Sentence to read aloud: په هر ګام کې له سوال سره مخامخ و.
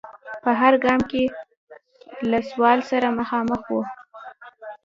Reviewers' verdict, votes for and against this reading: rejected, 0, 2